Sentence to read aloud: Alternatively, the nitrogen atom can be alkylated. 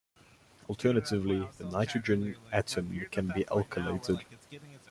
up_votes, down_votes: 0, 2